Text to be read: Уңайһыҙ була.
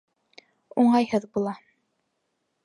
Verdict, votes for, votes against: accepted, 2, 0